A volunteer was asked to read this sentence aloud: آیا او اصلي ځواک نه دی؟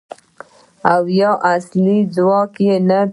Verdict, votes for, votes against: rejected, 1, 2